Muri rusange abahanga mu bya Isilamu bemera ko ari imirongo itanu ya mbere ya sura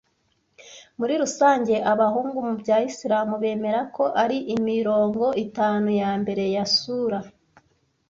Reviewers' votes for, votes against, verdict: 1, 2, rejected